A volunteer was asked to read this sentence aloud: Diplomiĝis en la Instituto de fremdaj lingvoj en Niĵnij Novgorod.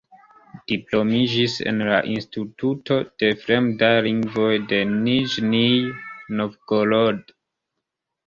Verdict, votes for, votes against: rejected, 1, 2